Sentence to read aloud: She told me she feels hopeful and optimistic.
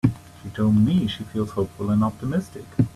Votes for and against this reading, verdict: 2, 0, accepted